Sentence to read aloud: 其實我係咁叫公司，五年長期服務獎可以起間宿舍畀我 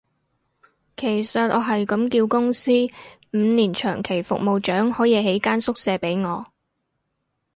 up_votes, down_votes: 2, 0